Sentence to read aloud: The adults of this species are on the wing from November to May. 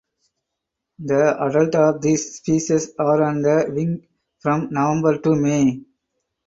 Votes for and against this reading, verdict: 0, 4, rejected